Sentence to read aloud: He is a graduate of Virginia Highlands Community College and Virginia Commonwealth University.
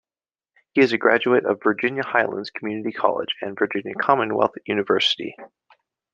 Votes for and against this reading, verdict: 2, 0, accepted